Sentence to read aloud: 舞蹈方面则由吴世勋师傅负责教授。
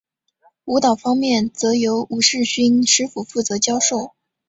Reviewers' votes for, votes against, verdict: 7, 0, accepted